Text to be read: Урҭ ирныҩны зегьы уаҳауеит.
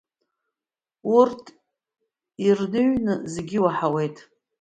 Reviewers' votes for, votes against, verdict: 0, 2, rejected